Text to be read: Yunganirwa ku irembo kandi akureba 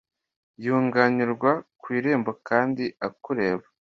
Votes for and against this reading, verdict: 2, 0, accepted